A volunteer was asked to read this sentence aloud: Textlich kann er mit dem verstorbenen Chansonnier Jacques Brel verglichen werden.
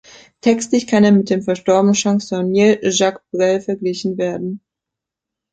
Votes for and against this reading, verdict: 2, 0, accepted